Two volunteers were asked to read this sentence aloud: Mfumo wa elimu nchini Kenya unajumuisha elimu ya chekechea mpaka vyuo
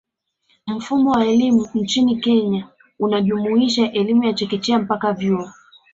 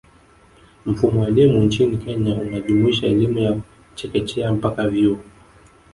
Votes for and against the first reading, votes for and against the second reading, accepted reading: 2, 0, 1, 2, first